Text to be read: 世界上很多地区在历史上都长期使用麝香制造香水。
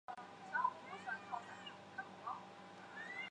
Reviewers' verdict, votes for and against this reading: rejected, 0, 3